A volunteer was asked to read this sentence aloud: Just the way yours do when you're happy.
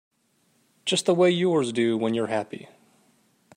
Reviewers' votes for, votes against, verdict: 2, 0, accepted